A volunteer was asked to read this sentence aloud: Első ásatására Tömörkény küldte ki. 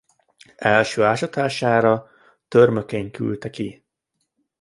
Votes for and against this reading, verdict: 2, 0, accepted